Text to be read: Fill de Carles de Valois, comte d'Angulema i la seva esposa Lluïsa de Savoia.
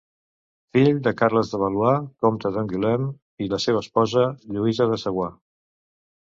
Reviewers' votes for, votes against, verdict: 1, 2, rejected